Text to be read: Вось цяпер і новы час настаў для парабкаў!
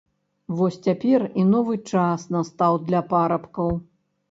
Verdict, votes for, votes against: accepted, 2, 0